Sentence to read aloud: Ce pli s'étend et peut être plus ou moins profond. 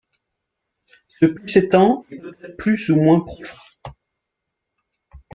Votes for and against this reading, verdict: 0, 2, rejected